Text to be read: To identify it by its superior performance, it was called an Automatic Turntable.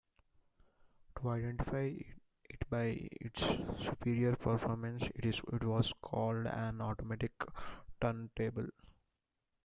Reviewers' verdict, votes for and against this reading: rejected, 0, 2